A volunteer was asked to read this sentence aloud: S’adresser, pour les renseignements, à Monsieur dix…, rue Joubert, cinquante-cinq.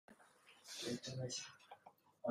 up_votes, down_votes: 0, 2